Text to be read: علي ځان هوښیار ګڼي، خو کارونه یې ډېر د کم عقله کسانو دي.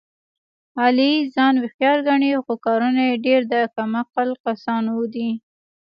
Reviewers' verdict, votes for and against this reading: rejected, 1, 2